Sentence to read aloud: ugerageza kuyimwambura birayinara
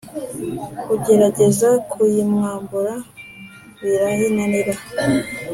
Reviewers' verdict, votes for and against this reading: accepted, 2, 1